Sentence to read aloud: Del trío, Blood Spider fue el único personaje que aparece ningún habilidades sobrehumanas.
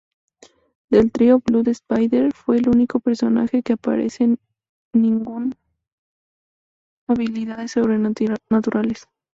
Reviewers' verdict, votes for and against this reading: rejected, 2, 2